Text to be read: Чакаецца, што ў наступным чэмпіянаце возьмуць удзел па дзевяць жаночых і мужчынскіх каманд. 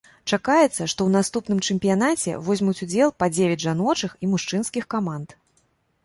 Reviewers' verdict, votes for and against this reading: accepted, 2, 0